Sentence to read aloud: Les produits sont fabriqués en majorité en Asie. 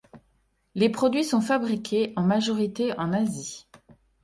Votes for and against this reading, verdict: 2, 0, accepted